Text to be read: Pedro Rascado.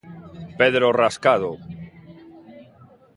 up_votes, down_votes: 2, 0